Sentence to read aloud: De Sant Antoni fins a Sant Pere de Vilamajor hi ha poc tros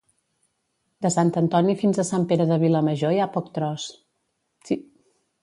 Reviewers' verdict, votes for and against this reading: rejected, 1, 2